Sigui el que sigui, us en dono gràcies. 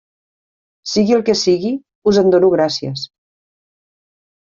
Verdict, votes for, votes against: accepted, 3, 0